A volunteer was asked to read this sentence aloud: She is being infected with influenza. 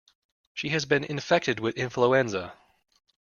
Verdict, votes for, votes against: rejected, 0, 2